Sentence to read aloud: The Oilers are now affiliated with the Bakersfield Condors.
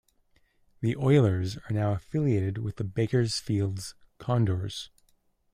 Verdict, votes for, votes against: rejected, 1, 2